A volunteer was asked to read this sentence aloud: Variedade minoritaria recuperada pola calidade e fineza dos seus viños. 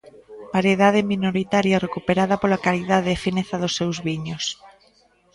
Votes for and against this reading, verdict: 1, 2, rejected